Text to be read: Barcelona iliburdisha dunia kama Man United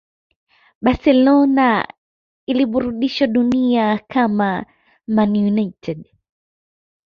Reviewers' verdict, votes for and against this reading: accepted, 2, 0